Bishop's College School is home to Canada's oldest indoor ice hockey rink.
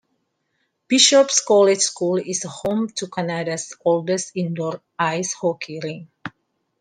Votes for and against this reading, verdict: 2, 0, accepted